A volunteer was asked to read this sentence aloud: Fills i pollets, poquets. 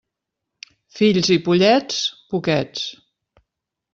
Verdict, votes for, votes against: accepted, 3, 0